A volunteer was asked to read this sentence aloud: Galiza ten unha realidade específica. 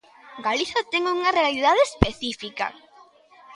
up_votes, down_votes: 2, 1